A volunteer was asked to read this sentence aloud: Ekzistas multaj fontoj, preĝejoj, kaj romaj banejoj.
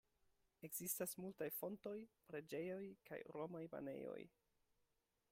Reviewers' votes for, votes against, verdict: 2, 1, accepted